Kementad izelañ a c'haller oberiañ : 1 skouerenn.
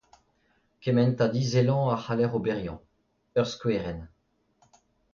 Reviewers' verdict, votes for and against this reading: rejected, 0, 2